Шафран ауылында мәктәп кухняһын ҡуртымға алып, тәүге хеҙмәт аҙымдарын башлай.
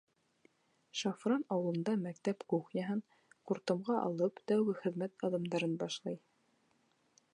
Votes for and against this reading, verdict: 1, 2, rejected